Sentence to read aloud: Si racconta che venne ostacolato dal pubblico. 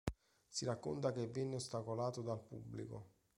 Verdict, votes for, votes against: accepted, 2, 1